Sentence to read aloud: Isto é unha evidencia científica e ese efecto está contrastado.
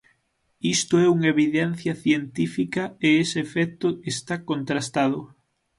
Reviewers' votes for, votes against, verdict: 9, 0, accepted